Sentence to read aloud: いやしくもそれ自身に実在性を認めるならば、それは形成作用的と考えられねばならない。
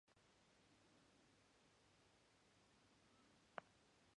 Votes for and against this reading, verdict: 0, 2, rejected